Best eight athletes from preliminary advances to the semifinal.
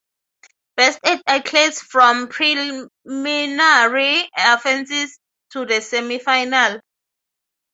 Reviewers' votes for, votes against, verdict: 0, 6, rejected